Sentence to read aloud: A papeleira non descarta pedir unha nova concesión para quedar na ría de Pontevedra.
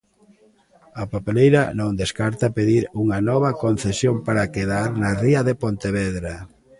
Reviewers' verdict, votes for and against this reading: accepted, 2, 0